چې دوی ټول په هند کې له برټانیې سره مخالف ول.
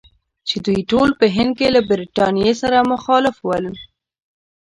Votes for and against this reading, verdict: 1, 2, rejected